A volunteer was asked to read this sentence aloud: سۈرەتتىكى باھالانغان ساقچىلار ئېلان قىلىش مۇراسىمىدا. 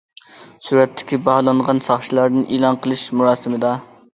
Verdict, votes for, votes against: rejected, 0, 2